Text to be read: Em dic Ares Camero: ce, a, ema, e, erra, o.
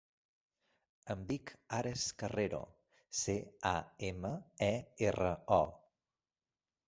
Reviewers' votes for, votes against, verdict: 0, 2, rejected